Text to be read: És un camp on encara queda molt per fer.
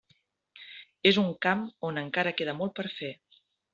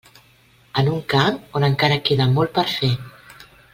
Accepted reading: first